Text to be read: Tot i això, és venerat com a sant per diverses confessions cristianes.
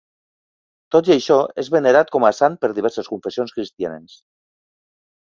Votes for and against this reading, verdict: 4, 0, accepted